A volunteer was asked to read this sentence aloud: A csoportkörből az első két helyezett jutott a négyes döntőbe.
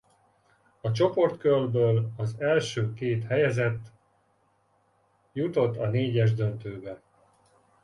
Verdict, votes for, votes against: accepted, 2, 0